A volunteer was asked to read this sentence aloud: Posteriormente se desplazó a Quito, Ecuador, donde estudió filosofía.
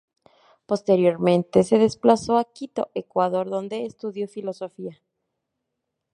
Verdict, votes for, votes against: accepted, 2, 0